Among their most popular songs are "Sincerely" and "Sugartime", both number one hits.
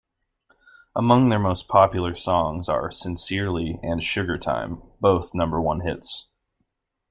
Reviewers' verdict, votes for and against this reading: accepted, 2, 0